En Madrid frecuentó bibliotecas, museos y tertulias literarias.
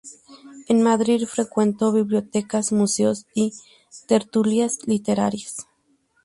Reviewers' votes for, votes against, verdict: 2, 0, accepted